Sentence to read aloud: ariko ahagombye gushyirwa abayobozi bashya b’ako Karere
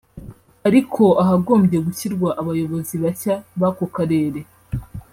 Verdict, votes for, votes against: accepted, 2, 1